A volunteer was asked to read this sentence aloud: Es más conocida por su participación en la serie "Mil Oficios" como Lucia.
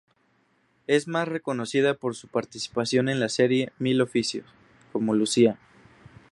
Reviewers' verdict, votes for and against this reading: rejected, 0, 2